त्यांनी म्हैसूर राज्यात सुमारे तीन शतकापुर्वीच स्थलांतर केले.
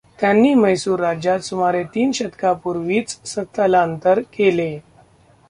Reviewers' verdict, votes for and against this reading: rejected, 0, 2